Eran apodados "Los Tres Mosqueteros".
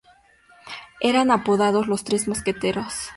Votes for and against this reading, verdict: 2, 0, accepted